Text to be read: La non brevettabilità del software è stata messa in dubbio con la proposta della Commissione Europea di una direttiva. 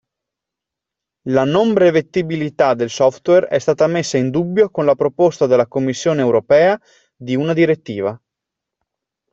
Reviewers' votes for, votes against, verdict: 1, 2, rejected